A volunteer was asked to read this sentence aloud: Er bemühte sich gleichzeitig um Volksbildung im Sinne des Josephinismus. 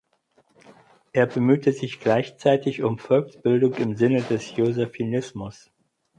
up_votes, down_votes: 4, 0